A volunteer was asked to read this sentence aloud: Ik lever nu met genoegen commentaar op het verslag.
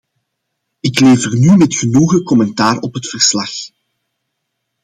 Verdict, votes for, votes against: accepted, 2, 0